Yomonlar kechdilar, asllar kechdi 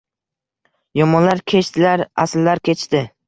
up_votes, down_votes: 0, 2